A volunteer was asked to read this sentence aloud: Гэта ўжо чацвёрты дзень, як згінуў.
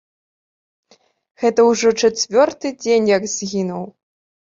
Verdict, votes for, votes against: accepted, 2, 1